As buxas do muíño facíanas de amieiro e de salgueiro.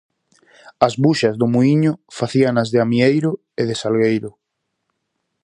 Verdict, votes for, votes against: accepted, 4, 0